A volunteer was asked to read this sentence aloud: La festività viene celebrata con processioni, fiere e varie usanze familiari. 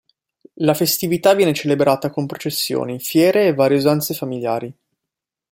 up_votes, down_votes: 2, 0